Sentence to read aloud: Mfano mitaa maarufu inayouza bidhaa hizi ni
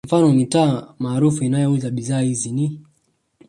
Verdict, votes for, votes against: accepted, 2, 0